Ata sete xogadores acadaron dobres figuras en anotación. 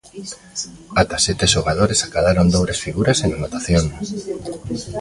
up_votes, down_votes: 2, 0